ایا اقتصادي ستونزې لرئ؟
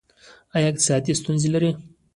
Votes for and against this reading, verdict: 2, 1, accepted